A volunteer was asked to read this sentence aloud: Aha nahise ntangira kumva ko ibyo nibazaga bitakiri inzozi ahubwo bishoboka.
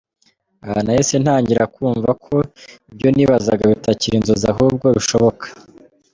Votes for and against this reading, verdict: 2, 0, accepted